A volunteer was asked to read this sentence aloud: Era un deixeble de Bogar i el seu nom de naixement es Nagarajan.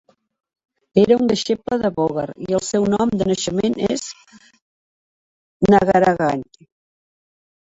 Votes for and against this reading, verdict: 0, 2, rejected